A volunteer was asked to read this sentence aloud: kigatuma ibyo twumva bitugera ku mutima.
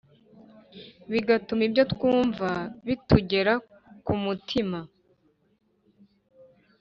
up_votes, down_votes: 0, 2